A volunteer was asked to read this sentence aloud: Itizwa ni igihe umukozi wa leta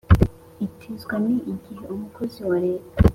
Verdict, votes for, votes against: accepted, 2, 0